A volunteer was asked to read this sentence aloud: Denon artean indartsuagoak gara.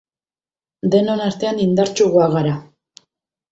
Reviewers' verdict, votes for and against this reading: rejected, 0, 2